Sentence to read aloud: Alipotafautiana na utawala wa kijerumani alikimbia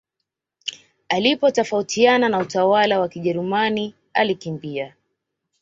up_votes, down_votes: 2, 0